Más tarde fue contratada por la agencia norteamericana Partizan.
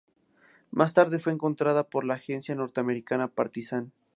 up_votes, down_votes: 0, 2